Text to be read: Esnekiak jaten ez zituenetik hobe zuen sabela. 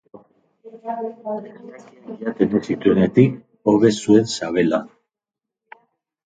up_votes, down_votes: 0, 3